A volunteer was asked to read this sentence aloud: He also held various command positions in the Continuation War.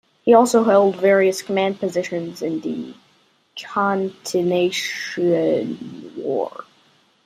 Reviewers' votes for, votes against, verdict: 1, 2, rejected